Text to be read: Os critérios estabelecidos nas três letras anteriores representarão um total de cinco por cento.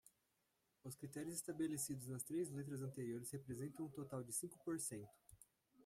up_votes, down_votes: 0, 2